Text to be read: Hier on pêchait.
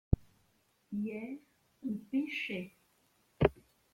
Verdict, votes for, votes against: rejected, 0, 2